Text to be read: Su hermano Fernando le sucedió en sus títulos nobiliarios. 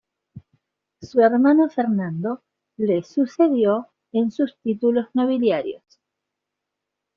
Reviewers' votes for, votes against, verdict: 1, 2, rejected